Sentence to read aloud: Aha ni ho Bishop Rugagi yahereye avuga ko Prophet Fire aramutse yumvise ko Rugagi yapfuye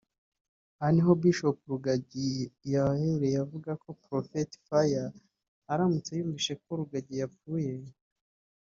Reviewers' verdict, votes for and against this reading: rejected, 0, 2